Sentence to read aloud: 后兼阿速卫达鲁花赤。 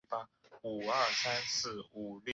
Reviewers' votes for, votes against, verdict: 1, 3, rejected